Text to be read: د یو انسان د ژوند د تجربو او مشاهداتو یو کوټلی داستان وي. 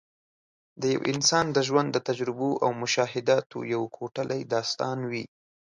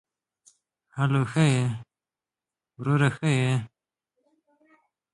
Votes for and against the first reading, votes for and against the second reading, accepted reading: 2, 0, 0, 2, first